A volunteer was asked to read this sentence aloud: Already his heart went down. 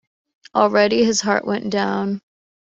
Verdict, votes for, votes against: accepted, 2, 0